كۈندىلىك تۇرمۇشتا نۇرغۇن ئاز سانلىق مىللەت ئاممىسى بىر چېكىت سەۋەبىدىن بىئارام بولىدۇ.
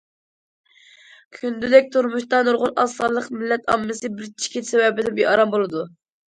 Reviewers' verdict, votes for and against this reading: accepted, 2, 0